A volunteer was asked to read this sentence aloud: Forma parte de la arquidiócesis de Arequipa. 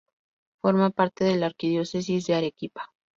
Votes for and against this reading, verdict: 0, 2, rejected